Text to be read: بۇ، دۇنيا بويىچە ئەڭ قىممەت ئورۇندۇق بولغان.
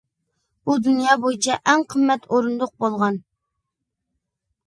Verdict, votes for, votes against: accepted, 2, 0